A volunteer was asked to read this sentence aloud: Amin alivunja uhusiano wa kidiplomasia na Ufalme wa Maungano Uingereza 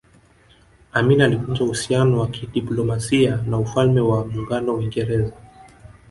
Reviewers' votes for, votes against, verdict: 1, 2, rejected